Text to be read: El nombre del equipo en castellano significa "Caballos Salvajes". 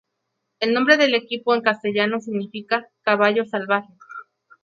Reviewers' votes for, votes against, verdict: 0, 2, rejected